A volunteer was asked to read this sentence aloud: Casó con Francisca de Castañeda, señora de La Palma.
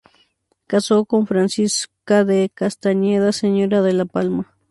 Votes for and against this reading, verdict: 2, 0, accepted